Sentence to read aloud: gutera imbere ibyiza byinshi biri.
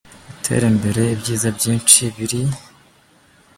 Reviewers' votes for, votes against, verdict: 2, 0, accepted